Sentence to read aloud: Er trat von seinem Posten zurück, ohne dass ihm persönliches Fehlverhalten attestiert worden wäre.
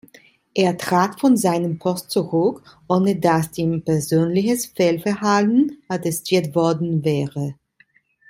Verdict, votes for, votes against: rejected, 1, 2